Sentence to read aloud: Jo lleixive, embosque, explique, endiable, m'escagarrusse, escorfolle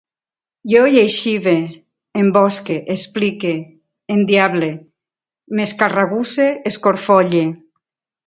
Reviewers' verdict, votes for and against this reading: accepted, 2, 1